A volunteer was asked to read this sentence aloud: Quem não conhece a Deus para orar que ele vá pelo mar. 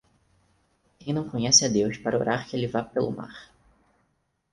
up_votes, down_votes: 2, 4